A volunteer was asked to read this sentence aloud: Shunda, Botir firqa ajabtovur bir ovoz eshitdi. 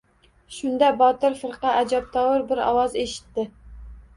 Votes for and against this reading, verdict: 2, 0, accepted